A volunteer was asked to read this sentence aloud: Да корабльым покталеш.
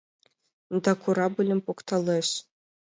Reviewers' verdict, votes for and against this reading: accepted, 2, 0